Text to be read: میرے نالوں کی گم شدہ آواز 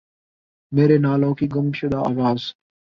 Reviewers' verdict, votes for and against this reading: accepted, 2, 0